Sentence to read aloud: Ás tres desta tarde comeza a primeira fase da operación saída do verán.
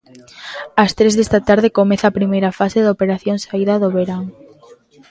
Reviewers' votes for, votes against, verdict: 2, 0, accepted